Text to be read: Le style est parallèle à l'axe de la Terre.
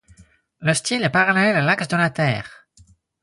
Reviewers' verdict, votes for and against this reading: rejected, 2, 4